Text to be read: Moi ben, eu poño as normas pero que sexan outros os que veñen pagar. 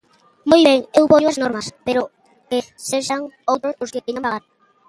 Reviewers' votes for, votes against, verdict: 0, 2, rejected